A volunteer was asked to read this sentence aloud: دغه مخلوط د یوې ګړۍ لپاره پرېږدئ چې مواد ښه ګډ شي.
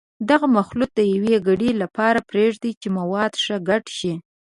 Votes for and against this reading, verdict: 1, 2, rejected